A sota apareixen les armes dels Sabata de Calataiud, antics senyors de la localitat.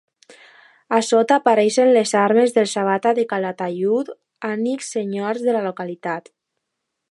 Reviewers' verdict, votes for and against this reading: rejected, 1, 3